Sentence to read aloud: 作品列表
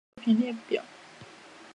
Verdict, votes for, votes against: rejected, 0, 4